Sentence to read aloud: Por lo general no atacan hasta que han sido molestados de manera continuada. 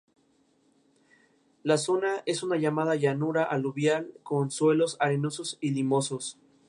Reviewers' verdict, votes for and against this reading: rejected, 0, 2